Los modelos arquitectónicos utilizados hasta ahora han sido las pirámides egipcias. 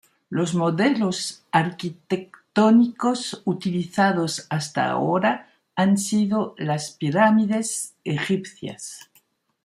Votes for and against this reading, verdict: 0, 2, rejected